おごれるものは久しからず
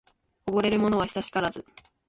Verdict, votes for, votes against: accepted, 2, 0